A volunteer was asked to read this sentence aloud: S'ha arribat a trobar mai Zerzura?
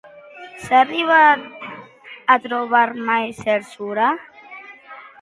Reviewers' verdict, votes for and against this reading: accepted, 2, 0